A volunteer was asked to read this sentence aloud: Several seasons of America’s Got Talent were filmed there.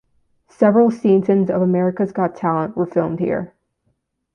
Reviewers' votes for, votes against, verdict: 0, 2, rejected